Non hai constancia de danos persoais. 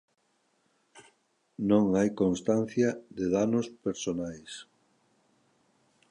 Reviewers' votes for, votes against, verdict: 0, 2, rejected